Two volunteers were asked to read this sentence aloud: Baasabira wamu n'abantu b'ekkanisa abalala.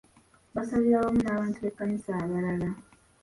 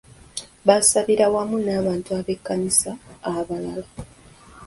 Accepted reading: second